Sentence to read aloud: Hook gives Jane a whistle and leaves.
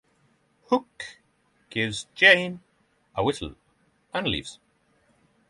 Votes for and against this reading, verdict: 6, 0, accepted